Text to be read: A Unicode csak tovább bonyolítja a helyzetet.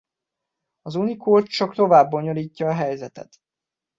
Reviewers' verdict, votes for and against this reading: accepted, 2, 1